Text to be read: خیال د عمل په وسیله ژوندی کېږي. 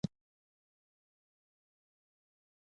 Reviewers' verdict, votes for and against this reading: rejected, 0, 2